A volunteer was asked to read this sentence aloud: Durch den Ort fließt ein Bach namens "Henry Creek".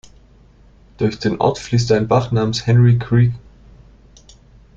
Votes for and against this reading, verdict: 0, 2, rejected